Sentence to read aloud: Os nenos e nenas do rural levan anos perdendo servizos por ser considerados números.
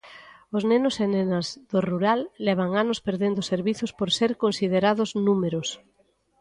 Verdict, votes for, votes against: rejected, 1, 2